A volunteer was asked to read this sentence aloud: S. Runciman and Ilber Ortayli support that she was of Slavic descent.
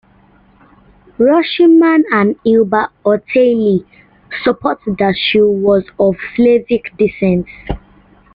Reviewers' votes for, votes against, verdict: 0, 2, rejected